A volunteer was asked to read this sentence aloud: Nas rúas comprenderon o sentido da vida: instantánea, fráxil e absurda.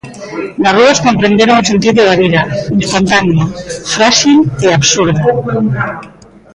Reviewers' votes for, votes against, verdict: 2, 1, accepted